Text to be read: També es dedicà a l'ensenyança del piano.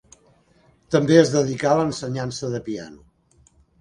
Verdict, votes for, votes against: rejected, 0, 2